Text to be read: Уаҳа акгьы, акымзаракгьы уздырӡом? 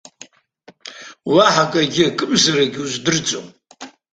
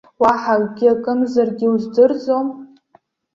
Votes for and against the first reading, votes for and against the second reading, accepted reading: 2, 0, 1, 2, first